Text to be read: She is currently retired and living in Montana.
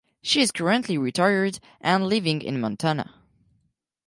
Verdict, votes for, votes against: rejected, 2, 4